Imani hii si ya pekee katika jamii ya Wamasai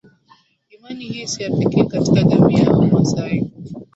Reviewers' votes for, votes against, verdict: 0, 2, rejected